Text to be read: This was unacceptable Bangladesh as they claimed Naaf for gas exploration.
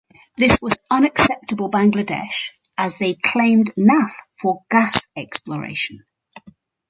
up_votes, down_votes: 4, 0